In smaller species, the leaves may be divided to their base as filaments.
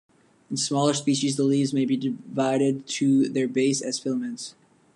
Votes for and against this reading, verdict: 2, 1, accepted